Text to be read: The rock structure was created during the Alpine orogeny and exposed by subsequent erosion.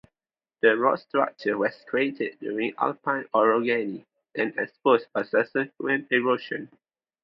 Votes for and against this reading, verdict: 2, 0, accepted